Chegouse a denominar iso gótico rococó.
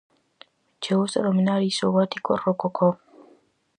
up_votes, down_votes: 2, 2